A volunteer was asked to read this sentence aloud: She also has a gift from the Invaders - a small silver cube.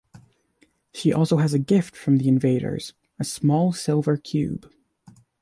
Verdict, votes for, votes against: accepted, 2, 0